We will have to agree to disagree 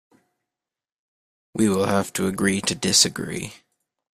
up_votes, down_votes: 2, 0